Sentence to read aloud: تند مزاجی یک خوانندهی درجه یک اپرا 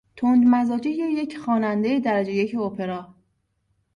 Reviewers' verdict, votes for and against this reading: accepted, 2, 0